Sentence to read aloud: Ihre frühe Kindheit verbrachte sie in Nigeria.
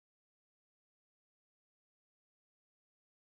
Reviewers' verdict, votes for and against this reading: rejected, 0, 2